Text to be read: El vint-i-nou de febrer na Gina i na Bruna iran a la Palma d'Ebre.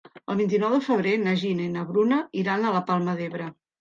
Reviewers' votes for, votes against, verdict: 3, 0, accepted